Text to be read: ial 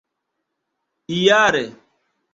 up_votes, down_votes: 0, 2